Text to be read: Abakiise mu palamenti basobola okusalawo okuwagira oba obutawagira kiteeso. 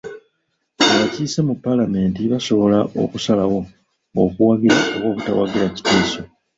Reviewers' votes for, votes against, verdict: 2, 0, accepted